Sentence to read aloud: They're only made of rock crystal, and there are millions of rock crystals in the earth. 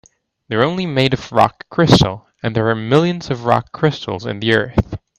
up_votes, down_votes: 2, 1